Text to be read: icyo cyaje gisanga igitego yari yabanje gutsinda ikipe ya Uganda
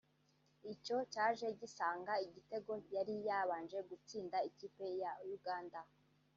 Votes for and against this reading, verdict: 0, 2, rejected